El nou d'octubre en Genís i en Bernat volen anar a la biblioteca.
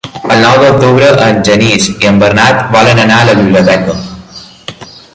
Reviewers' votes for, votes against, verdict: 2, 1, accepted